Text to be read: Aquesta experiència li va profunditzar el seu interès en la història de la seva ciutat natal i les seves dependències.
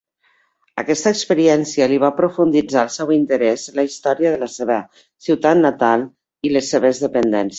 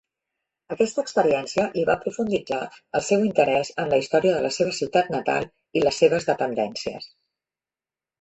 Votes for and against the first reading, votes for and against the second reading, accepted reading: 0, 2, 2, 0, second